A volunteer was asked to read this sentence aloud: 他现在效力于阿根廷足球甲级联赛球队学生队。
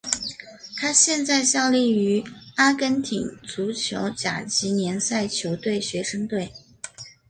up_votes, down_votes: 0, 2